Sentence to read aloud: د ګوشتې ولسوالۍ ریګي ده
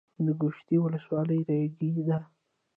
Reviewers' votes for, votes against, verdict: 0, 2, rejected